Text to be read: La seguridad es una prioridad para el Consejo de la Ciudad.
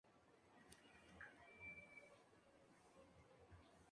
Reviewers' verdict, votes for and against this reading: rejected, 0, 2